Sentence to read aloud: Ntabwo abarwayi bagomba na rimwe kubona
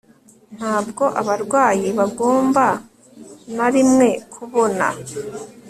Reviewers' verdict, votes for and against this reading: accepted, 3, 0